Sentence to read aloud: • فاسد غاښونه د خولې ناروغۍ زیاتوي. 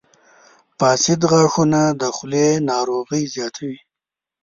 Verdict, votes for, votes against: accepted, 2, 0